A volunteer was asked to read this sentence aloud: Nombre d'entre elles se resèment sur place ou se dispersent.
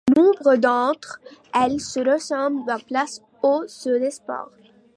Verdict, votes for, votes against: rejected, 0, 3